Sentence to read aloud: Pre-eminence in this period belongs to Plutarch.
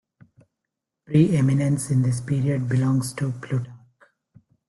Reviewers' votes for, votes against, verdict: 0, 2, rejected